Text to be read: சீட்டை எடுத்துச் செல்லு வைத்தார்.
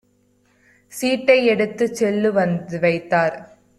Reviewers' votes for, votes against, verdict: 0, 2, rejected